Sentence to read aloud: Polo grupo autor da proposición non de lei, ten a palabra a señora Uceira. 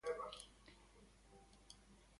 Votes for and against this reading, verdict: 0, 2, rejected